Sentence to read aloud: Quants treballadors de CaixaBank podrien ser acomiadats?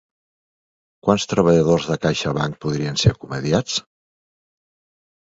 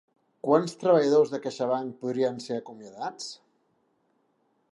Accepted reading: second